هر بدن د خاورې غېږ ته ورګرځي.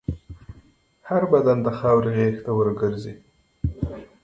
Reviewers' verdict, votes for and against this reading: accepted, 2, 1